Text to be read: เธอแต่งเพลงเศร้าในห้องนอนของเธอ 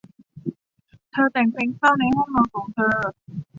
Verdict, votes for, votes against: accepted, 2, 0